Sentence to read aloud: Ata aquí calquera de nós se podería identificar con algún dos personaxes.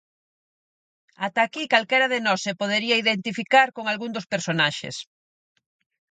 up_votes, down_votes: 4, 0